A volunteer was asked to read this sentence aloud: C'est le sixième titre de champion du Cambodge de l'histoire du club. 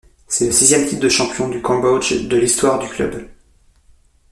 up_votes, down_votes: 2, 0